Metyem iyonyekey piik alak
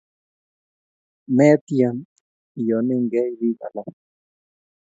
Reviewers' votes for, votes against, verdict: 2, 0, accepted